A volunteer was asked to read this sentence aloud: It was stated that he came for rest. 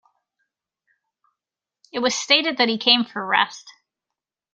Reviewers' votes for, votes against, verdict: 2, 0, accepted